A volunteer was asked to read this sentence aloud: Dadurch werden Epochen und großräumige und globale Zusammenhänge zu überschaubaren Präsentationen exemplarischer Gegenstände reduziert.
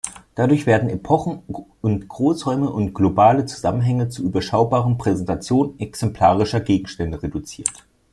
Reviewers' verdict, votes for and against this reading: rejected, 1, 2